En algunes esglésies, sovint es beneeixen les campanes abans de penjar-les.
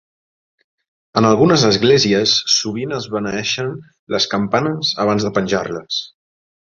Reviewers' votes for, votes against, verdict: 5, 0, accepted